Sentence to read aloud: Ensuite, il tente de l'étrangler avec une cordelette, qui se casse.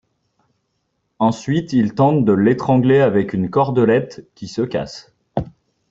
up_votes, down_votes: 2, 0